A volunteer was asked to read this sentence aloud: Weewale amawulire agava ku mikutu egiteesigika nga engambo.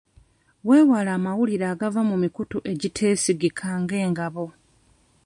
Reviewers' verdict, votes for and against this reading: rejected, 0, 2